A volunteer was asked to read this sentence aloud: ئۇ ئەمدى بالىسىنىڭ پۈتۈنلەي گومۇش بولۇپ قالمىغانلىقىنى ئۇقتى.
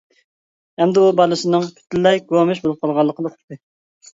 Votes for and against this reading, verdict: 1, 2, rejected